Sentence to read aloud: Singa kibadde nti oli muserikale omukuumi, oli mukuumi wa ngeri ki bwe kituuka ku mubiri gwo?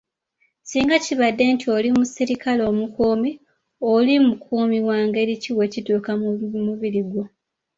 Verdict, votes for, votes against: rejected, 1, 2